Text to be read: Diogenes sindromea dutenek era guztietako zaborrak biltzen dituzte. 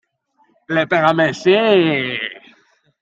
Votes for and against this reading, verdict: 0, 2, rejected